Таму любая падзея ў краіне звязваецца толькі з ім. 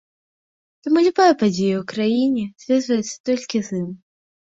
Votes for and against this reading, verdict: 2, 0, accepted